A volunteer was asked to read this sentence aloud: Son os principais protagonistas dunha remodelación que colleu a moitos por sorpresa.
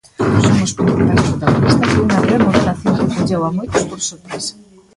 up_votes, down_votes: 0, 2